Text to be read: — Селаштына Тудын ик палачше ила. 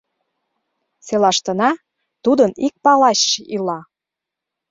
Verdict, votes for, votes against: rejected, 0, 2